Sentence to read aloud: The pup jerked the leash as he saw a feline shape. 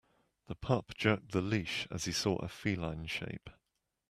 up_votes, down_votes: 2, 0